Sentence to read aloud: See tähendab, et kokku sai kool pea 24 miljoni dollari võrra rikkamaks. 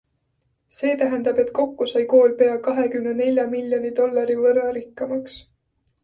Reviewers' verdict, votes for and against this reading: rejected, 0, 2